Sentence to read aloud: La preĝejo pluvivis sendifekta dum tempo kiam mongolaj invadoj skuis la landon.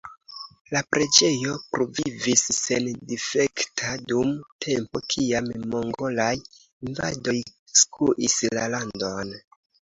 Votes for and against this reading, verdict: 3, 0, accepted